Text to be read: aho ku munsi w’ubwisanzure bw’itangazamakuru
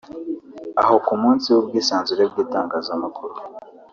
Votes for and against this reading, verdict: 2, 0, accepted